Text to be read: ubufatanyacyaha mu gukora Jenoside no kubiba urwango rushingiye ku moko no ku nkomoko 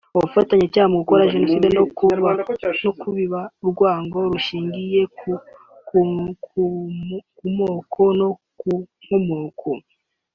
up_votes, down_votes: 0, 3